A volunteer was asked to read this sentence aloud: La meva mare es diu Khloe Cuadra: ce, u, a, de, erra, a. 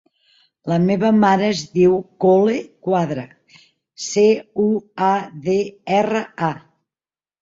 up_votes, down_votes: 1, 2